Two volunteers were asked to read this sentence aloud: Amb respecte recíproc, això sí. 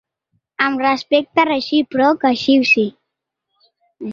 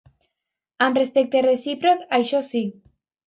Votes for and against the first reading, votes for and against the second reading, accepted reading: 1, 2, 2, 0, second